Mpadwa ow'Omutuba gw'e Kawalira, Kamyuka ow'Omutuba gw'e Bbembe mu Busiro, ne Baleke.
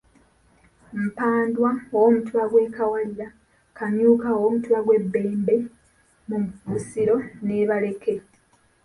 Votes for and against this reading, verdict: 0, 2, rejected